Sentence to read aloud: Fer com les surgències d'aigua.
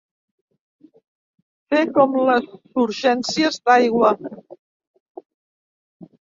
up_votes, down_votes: 0, 2